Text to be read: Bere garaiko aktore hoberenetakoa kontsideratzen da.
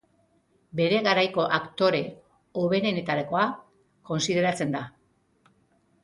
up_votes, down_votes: 0, 2